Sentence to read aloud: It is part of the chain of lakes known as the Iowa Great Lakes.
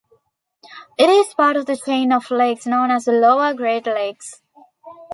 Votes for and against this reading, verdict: 0, 2, rejected